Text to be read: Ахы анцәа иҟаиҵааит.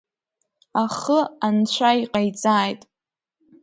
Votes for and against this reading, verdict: 2, 0, accepted